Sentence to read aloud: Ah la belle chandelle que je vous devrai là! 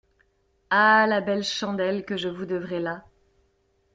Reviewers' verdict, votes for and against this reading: accepted, 2, 0